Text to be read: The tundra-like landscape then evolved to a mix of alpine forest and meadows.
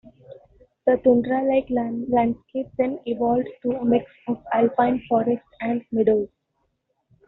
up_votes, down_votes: 1, 2